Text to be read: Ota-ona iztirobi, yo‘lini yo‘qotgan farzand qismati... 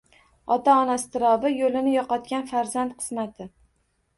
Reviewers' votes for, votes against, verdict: 2, 0, accepted